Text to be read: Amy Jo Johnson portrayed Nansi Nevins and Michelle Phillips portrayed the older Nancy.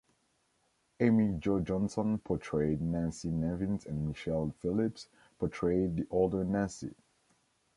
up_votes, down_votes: 1, 2